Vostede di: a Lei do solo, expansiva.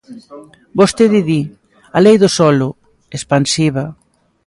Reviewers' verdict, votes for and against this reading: accepted, 2, 0